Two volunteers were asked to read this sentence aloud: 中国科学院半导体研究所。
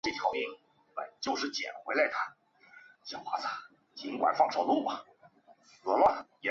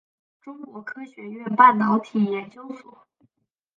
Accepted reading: second